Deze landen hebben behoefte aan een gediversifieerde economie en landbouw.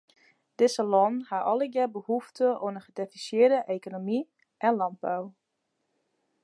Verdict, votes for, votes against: rejected, 0, 2